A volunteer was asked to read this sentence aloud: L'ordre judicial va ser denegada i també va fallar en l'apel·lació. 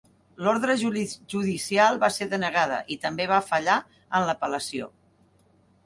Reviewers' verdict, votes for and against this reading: rejected, 1, 2